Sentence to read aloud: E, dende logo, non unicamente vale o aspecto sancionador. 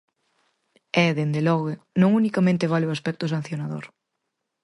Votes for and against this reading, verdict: 4, 0, accepted